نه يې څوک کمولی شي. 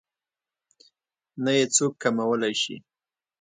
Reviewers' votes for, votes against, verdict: 2, 0, accepted